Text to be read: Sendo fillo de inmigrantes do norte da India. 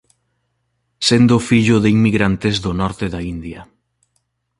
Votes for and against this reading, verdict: 2, 0, accepted